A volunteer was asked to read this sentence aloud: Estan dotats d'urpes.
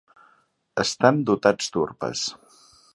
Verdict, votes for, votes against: accepted, 2, 0